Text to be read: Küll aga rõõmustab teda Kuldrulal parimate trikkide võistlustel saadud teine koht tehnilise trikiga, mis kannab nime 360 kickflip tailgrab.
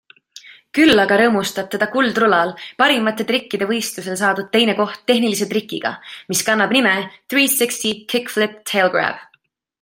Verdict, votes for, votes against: rejected, 0, 2